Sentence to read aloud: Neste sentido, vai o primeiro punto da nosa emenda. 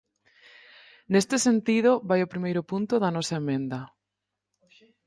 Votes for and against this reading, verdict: 4, 0, accepted